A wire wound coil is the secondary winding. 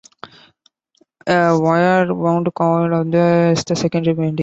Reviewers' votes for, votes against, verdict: 1, 2, rejected